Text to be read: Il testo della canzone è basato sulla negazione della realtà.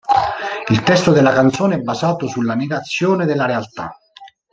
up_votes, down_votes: 1, 2